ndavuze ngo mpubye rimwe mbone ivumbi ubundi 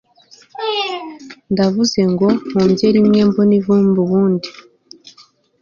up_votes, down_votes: 2, 0